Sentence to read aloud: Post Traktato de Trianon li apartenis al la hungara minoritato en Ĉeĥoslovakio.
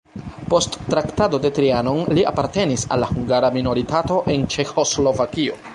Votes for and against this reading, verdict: 0, 2, rejected